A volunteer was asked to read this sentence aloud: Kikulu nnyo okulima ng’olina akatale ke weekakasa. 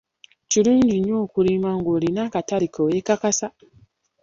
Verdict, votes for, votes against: rejected, 1, 2